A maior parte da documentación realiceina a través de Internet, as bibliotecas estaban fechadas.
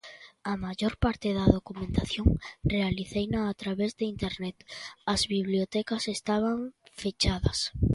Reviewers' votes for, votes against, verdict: 2, 1, accepted